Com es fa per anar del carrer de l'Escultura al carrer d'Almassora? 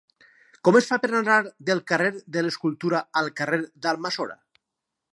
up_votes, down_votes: 4, 0